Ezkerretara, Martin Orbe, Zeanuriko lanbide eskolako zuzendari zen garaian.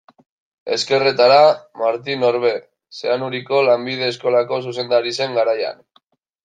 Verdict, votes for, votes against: accepted, 2, 0